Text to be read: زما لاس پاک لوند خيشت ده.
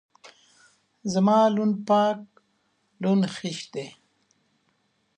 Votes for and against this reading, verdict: 1, 2, rejected